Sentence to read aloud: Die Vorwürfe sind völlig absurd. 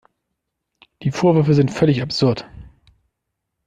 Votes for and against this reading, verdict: 2, 0, accepted